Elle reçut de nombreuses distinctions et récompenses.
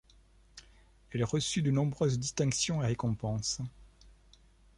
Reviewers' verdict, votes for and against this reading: accepted, 2, 1